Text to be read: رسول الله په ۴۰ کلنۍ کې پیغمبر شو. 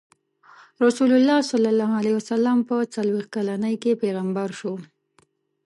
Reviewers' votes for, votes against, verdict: 0, 2, rejected